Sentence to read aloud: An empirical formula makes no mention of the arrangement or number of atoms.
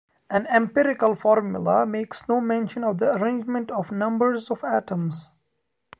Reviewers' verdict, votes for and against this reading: rejected, 1, 2